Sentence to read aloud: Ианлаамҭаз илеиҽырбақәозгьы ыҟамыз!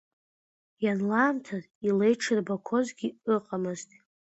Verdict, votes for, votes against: accepted, 2, 0